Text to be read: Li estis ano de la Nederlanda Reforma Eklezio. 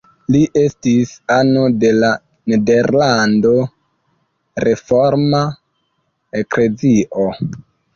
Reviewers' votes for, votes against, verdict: 0, 2, rejected